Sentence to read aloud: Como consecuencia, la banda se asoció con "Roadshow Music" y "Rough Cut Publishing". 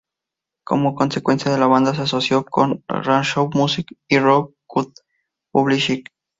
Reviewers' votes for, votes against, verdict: 0, 2, rejected